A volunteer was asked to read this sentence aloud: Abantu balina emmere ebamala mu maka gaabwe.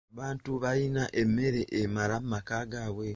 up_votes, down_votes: 2, 1